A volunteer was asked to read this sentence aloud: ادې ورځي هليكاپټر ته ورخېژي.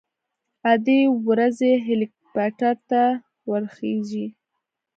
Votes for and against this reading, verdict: 3, 0, accepted